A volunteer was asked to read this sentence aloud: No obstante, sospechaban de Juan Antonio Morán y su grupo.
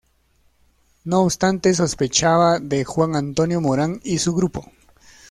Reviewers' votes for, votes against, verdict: 1, 2, rejected